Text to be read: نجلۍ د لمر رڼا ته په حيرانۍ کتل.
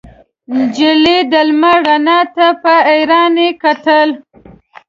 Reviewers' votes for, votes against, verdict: 2, 0, accepted